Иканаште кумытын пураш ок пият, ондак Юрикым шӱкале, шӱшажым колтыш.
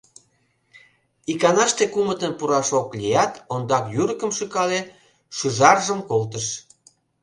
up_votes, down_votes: 0, 2